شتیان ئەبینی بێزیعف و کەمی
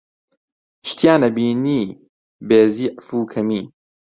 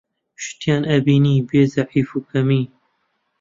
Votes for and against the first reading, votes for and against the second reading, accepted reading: 2, 0, 1, 2, first